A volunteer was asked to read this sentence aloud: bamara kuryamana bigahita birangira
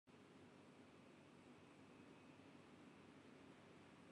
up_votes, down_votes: 0, 3